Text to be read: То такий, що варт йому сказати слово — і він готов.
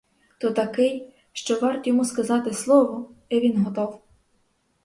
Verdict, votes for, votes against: accepted, 4, 0